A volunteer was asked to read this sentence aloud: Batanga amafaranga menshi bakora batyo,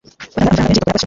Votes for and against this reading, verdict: 1, 2, rejected